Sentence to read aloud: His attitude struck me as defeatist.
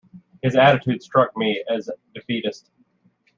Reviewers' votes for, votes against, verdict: 2, 0, accepted